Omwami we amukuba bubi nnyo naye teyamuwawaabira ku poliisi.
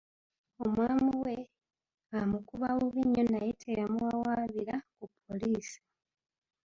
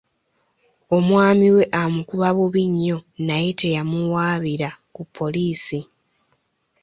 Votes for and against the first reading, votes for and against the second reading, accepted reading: 0, 2, 2, 0, second